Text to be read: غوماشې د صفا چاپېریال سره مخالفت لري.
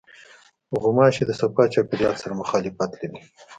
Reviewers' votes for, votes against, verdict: 2, 0, accepted